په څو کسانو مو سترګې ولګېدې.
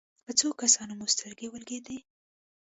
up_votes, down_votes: 1, 2